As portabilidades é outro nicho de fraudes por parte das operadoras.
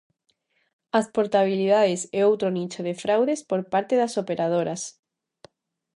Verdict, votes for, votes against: accepted, 2, 0